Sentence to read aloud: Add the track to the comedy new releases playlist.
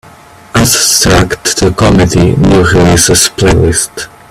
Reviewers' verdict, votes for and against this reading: rejected, 1, 2